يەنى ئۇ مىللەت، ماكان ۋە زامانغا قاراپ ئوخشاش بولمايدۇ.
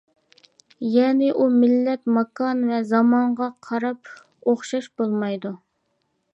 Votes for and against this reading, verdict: 2, 0, accepted